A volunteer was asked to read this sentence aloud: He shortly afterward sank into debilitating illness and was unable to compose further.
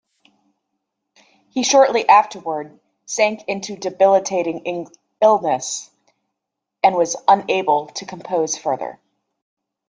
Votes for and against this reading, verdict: 0, 2, rejected